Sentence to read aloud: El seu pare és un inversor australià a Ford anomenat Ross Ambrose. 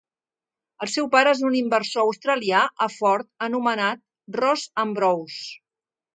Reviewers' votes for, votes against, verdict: 2, 0, accepted